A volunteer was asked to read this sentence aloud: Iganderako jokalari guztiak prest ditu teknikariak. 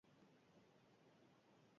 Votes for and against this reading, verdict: 0, 6, rejected